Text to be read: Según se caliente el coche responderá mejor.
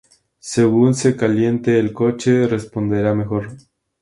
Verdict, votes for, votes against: accepted, 6, 0